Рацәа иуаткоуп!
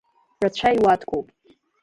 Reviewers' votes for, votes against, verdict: 2, 0, accepted